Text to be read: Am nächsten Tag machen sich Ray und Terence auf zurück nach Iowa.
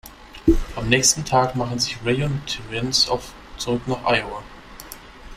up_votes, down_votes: 1, 2